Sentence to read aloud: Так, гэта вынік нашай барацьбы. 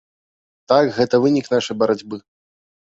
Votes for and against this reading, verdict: 2, 0, accepted